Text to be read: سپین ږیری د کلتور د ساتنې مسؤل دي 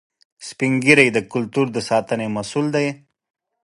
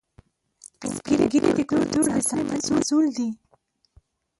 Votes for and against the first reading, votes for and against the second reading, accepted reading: 2, 0, 0, 2, first